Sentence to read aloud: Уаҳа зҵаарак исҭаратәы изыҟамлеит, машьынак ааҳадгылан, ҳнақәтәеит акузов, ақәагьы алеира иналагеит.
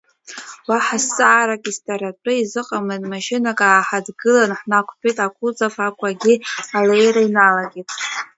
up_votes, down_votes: 1, 2